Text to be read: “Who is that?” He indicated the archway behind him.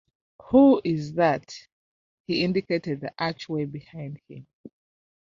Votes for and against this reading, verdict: 1, 2, rejected